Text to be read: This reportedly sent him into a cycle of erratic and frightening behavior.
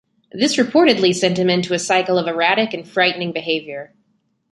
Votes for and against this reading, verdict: 2, 0, accepted